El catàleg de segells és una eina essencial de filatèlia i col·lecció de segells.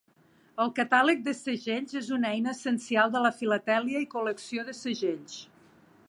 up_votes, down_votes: 1, 2